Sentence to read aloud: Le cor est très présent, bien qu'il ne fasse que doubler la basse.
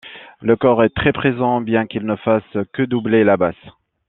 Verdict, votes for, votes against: accepted, 2, 1